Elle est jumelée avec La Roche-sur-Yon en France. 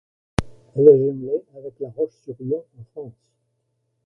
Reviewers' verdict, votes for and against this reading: rejected, 1, 2